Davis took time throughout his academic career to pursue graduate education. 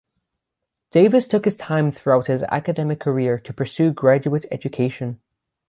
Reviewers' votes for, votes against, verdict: 3, 3, rejected